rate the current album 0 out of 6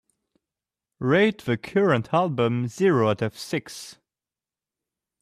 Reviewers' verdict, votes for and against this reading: rejected, 0, 2